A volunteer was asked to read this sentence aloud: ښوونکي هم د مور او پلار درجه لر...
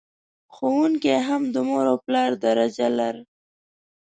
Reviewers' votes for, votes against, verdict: 2, 0, accepted